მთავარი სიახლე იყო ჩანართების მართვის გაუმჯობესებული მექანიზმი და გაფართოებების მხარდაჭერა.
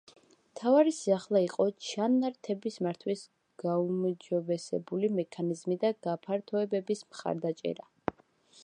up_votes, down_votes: 2, 0